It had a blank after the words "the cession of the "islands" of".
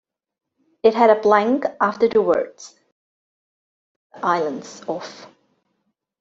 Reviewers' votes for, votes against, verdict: 0, 2, rejected